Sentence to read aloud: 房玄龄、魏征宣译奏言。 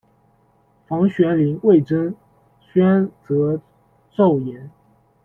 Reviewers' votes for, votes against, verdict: 0, 2, rejected